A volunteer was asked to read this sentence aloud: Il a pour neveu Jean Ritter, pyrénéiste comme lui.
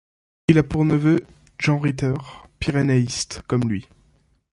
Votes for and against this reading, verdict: 1, 2, rejected